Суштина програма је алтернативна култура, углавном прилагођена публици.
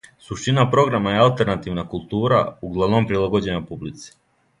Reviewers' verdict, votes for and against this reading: accepted, 2, 0